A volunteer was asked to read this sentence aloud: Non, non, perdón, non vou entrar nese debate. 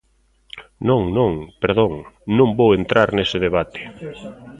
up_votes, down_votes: 2, 0